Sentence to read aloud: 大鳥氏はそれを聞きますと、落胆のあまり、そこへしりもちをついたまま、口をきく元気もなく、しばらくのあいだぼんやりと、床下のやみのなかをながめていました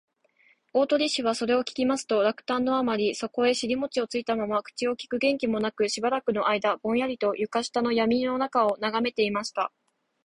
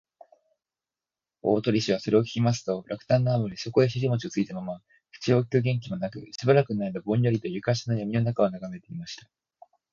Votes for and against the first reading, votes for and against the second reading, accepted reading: 2, 1, 3, 3, first